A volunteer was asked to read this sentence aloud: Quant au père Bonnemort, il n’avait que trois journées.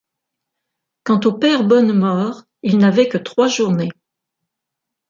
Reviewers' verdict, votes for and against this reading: accepted, 2, 0